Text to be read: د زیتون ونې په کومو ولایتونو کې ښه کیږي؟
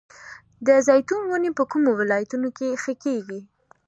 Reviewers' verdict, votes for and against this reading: accepted, 2, 0